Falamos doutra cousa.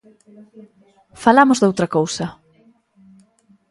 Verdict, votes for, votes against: accepted, 2, 0